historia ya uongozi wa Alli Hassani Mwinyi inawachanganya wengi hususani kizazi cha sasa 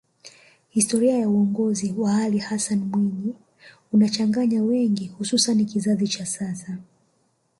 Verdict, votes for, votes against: rejected, 1, 2